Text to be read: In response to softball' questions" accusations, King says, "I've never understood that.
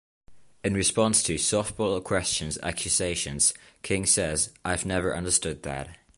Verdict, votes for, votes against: rejected, 0, 2